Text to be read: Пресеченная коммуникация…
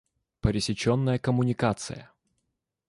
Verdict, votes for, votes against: accepted, 3, 1